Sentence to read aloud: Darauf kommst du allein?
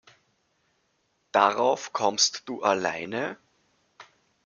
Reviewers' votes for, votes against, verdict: 1, 2, rejected